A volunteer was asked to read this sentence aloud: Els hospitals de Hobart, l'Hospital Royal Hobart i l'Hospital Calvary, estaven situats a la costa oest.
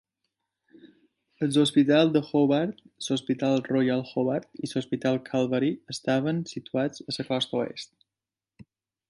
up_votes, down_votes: 0, 2